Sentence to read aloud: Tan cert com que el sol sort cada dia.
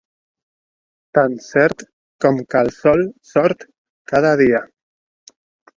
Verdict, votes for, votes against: accepted, 2, 0